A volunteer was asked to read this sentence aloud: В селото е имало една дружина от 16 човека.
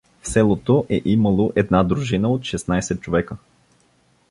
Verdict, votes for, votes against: rejected, 0, 2